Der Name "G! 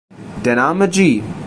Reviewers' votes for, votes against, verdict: 3, 1, accepted